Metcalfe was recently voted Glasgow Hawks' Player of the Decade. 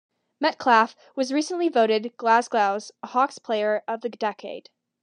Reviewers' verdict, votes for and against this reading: rejected, 1, 2